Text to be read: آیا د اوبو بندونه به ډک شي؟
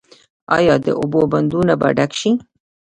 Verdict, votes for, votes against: accepted, 2, 0